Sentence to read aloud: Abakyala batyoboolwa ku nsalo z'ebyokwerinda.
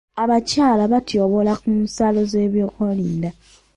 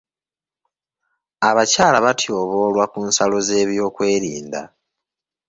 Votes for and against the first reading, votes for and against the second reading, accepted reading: 1, 2, 3, 0, second